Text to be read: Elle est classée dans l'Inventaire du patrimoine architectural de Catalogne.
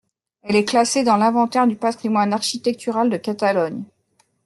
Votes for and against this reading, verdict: 2, 0, accepted